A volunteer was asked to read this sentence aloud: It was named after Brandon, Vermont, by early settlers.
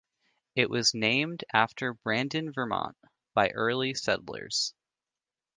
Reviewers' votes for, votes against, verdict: 2, 1, accepted